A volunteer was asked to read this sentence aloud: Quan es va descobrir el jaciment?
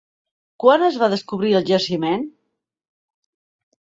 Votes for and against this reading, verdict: 2, 0, accepted